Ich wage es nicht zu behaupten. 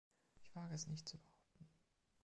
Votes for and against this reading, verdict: 2, 0, accepted